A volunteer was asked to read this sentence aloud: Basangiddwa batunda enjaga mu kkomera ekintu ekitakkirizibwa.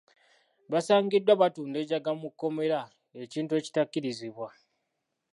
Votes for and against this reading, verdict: 2, 0, accepted